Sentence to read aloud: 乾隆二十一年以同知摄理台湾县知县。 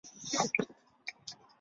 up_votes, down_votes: 0, 3